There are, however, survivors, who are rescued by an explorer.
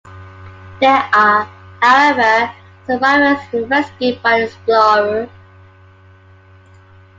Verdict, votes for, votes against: rejected, 0, 2